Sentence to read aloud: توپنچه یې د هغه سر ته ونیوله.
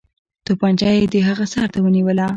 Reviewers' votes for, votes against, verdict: 2, 0, accepted